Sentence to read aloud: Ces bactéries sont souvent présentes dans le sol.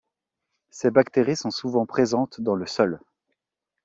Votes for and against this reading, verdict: 3, 0, accepted